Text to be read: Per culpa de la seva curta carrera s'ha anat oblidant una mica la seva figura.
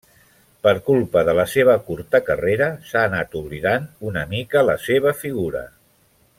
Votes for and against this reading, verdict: 3, 0, accepted